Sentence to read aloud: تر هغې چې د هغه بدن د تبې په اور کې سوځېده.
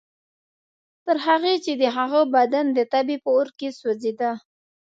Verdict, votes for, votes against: accepted, 2, 0